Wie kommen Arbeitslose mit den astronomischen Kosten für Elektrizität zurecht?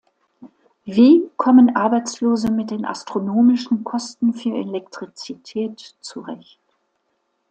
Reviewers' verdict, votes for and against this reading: accepted, 2, 0